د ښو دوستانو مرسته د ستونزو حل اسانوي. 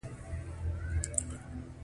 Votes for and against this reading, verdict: 1, 2, rejected